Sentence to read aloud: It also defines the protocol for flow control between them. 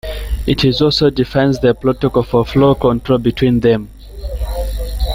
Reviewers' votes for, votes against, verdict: 0, 2, rejected